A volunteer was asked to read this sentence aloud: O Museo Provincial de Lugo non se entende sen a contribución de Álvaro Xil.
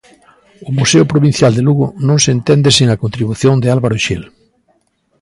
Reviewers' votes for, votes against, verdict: 2, 0, accepted